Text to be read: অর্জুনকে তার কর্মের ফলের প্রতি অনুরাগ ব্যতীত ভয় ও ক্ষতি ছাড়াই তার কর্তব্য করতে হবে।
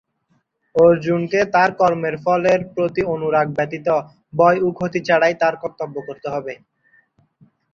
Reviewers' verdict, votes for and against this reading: accepted, 2, 0